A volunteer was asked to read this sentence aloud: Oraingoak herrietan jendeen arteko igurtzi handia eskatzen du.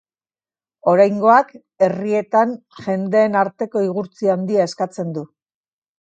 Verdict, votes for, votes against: accepted, 2, 0